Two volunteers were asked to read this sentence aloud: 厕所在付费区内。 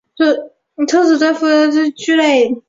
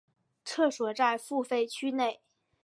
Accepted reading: second